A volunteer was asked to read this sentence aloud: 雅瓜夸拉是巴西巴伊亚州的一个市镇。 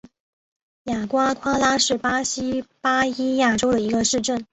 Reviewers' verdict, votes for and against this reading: accepted, 4, 0